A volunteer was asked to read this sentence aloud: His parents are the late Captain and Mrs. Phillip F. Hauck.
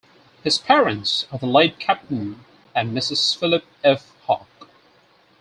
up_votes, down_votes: 4, 0